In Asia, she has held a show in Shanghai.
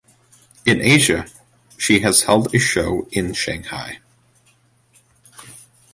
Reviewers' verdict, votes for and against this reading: rejected, 1, 2